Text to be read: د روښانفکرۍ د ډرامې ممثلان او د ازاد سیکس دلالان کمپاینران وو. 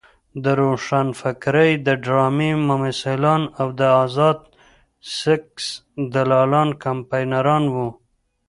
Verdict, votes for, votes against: rejected, 0, 2